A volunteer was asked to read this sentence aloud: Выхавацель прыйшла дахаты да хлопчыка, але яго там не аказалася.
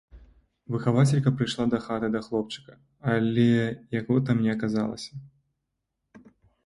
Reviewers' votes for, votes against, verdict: 0, 2, rejected